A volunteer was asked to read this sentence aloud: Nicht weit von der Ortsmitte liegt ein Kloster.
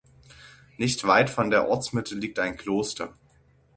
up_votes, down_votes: 6, 0